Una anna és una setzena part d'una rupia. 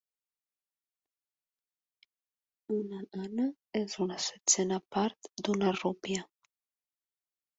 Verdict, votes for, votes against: rejected, 1, 2